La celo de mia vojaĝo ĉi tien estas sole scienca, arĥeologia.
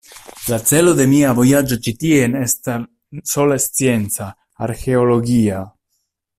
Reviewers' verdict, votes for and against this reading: rejected, 1, 2